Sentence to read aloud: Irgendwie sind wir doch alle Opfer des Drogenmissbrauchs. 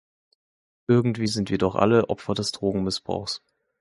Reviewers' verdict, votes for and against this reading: accepted, 2, 0